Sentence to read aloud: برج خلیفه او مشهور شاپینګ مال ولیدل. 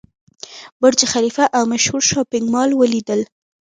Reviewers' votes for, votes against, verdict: 2, 0, accepted